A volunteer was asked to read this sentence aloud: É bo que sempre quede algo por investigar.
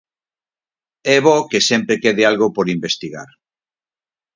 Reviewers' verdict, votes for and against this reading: accepted, 4, 0